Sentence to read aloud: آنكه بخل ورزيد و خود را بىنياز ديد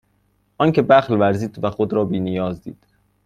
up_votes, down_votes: 2, 0